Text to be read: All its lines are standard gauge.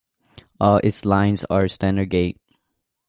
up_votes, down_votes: 1, 2